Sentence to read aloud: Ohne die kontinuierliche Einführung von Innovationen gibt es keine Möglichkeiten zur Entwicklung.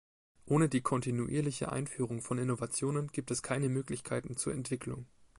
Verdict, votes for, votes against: accepted, 2, 0